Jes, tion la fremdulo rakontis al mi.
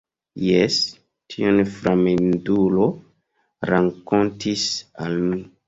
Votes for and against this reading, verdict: 1, 2, rejected